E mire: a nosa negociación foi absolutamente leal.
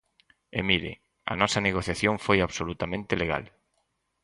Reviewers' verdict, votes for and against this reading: rejected, 0, 6